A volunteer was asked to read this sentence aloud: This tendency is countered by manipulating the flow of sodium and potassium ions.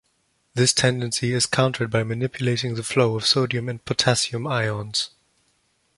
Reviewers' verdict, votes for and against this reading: accepted, 2, 0